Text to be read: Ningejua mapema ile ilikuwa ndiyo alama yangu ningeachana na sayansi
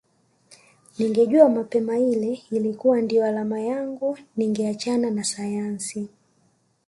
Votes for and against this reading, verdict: 2, 1, accepted